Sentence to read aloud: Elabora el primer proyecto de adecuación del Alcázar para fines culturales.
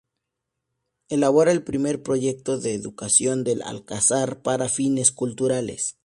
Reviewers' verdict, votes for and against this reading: accepted, 2, 0